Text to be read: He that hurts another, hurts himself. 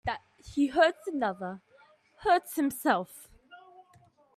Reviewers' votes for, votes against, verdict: 1, 2, rejected